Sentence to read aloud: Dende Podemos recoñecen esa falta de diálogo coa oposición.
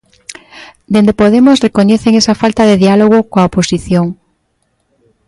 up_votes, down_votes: 2, 0